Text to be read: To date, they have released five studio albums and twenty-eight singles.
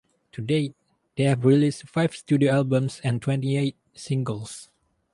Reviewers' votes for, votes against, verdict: 2, 0, accepted